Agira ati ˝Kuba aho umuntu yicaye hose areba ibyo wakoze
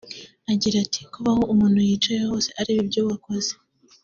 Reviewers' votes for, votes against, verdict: 3, 0, accepted